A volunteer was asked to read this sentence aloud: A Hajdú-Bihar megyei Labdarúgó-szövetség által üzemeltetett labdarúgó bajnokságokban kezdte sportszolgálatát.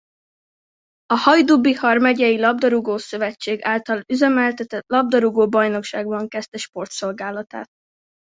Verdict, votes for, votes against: rejected, 0, 2